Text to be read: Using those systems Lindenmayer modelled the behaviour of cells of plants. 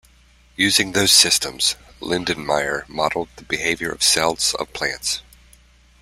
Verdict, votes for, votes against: accepted, 2, 0